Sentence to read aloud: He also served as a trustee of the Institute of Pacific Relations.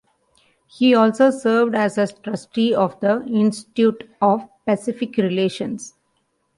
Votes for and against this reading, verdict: 2, 0, accepted